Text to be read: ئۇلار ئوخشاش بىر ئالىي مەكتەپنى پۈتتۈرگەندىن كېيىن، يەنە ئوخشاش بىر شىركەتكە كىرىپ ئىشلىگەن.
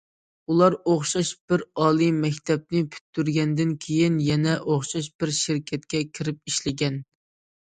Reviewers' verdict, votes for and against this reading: accepted, 2, 0